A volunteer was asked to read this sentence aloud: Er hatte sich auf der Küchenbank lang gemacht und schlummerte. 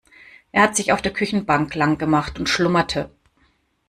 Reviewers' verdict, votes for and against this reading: rejected, 1, 2